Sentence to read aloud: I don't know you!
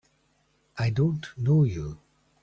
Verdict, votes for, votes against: accepted, 2, 0